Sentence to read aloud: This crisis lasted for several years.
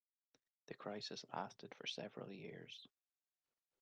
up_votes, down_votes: 0, 2